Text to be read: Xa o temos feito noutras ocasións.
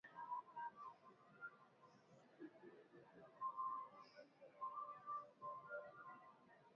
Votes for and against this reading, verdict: 0, 2, rejected